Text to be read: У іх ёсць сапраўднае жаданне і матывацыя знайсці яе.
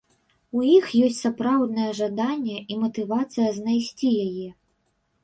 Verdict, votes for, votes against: accepted, 3, 0